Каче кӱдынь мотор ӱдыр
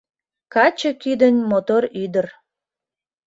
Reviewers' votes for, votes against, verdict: 2, 0, accepted